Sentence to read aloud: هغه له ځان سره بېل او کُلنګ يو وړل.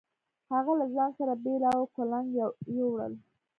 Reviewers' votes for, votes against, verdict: 2, 0, accepted